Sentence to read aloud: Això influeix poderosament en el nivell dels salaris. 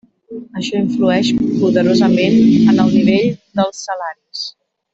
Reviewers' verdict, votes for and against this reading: rejected, 1, 5